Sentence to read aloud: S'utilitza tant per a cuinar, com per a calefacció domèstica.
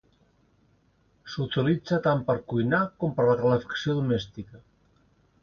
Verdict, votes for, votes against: rejected, 0, 2